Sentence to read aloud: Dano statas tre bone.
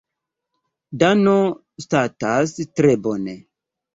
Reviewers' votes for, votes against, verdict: 2, 1, accepted